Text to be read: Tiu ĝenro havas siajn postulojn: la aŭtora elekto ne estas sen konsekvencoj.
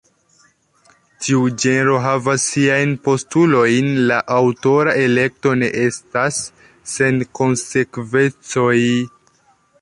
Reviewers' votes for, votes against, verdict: 1, 2, rejected